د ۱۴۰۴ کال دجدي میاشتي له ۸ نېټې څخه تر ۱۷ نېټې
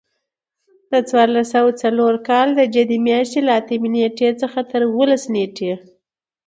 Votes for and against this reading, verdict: 0, 2, rejected